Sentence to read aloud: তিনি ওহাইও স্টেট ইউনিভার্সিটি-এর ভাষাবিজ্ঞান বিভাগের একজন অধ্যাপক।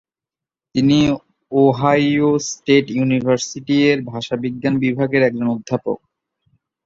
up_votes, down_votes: 1, 2